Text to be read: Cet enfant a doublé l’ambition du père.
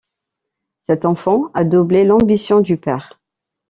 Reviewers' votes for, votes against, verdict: 0, 2, rejected